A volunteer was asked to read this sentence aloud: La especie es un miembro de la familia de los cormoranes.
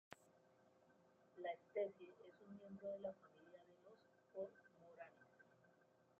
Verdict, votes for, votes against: rejected, 0, 2